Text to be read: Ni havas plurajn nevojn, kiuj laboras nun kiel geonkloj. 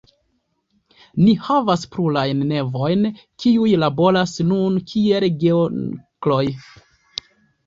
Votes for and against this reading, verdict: 2, 0, accepted